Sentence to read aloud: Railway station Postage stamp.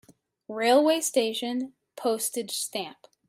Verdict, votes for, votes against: accepted, 2, 0